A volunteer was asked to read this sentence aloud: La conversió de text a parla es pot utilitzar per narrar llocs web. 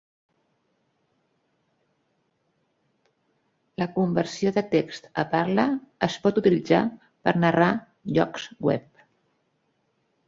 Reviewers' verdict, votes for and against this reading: accepted, 3, 0